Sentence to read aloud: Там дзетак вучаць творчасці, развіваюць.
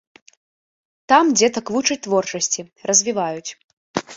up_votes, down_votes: 2, 0